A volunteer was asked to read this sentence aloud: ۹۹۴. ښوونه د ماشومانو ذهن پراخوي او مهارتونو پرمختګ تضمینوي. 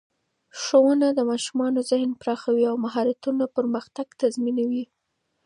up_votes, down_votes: 0, 2